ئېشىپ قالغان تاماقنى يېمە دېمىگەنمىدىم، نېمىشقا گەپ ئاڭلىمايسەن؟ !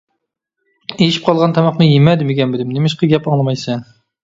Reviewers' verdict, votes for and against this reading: accepted, 2, 1